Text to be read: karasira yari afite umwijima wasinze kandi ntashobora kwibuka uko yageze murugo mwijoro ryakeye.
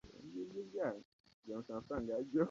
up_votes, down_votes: 0, 2